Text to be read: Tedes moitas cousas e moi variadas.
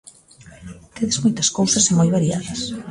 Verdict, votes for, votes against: rejected, 1, 2